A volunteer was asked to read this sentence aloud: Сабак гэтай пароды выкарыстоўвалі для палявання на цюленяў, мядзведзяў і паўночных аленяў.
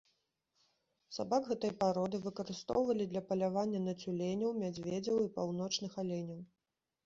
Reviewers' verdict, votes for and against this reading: accepted, 2, 0